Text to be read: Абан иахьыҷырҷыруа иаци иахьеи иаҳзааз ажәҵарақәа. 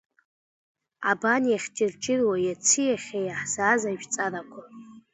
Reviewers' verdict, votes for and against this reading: accepted, 2, 0